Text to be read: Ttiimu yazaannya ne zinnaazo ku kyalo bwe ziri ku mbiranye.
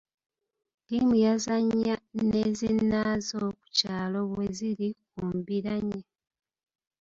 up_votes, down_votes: 1, 2